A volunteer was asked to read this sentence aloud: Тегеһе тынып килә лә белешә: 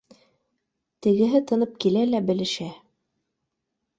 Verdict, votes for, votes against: accepted, 2, 0